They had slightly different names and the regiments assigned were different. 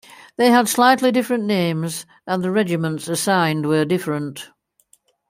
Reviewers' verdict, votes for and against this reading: accepted, 2, 0